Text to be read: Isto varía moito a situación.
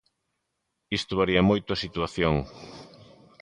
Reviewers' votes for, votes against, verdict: 2, 0, accepted